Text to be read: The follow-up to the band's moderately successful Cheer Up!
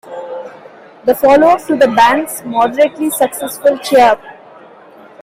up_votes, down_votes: 2, 0